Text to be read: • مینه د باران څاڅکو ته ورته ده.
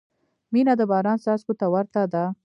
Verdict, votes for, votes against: accepted, 2, 0